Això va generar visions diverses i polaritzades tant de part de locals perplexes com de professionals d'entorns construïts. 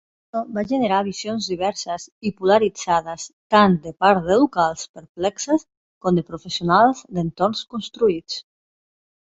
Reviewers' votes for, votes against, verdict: 0, 2, rejected